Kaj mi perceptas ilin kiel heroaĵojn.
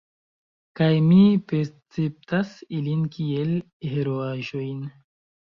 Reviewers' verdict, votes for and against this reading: rejected, 0, 2